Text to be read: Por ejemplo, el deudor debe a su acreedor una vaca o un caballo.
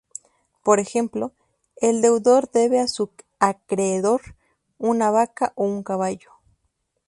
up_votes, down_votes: 0, 2